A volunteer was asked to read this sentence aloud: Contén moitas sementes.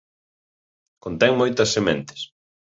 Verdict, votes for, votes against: accepted, 2, 0